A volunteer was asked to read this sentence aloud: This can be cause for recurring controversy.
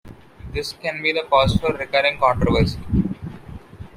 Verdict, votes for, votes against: rejected, 1, 2